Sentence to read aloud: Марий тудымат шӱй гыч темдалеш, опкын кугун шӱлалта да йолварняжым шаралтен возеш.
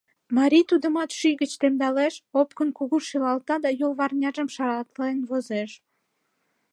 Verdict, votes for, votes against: accepted, 2, 1